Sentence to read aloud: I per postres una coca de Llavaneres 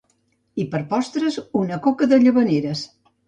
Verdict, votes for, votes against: accepted, 2, 0